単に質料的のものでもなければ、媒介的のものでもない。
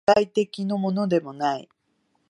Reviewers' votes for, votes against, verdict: 1, 4, rejected